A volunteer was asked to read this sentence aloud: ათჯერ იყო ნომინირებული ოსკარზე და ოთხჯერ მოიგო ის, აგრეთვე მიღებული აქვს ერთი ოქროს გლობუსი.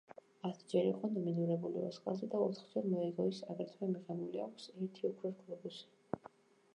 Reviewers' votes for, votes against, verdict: 1, 2, rejected